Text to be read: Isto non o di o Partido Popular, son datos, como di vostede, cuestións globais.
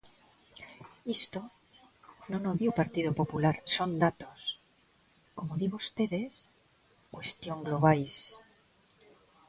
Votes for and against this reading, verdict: 0, 2, rejected